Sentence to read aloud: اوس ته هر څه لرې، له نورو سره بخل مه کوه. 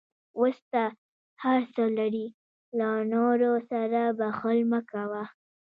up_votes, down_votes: 0, 2